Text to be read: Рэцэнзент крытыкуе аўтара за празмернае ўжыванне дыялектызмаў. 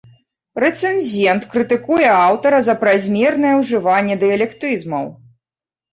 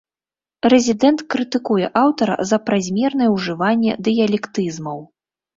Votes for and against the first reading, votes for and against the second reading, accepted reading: 2, 1, 1, 2, first